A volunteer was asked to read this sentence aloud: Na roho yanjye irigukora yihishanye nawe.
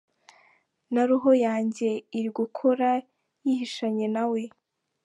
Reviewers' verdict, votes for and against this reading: accepted, 2, 0